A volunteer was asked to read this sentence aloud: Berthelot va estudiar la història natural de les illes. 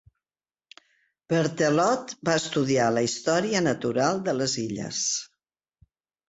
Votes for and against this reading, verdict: 2, 0, accepted